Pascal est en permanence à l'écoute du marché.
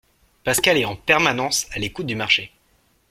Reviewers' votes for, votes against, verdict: 2, 0, accepted